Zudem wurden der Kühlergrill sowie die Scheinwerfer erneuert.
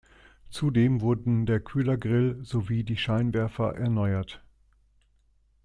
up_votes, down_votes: 2, 0